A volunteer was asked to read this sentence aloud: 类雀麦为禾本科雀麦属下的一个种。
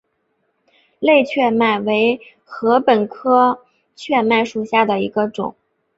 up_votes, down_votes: 4, 0